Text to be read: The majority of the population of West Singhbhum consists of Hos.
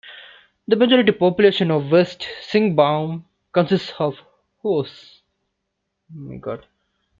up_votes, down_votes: 0, 2